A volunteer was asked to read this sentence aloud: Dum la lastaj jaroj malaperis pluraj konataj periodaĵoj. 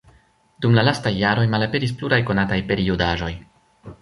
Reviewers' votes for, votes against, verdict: 1, 2, rejected